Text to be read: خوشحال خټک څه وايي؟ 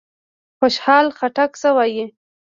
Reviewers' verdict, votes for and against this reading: rejected, 1, 2